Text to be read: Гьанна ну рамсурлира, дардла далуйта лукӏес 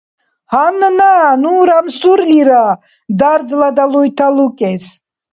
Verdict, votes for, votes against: rejected, 1, 2